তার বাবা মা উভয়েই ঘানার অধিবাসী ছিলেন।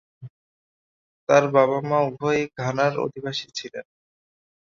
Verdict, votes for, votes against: accepted, 5, 0